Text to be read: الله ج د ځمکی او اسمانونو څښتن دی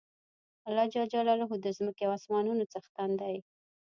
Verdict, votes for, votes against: rejected, 0, 2